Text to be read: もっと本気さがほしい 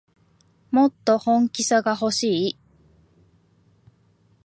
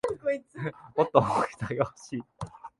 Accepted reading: first